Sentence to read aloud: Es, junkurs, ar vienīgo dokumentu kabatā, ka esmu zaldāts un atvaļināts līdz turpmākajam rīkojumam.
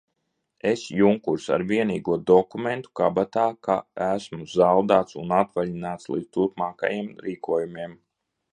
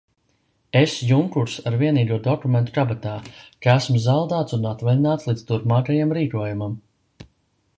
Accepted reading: second